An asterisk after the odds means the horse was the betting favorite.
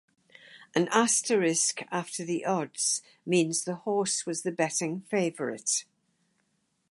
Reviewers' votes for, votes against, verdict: 2, 2, rejected